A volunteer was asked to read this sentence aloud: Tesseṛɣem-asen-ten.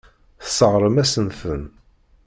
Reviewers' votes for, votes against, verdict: 0, 2, rejected